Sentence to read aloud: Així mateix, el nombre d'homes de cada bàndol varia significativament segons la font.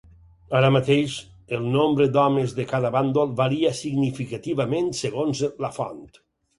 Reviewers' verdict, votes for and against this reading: rejected, 0, 4